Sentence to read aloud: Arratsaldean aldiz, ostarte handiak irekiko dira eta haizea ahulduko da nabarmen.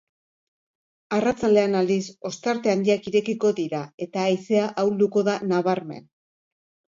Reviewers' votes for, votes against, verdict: 2, 0, accepted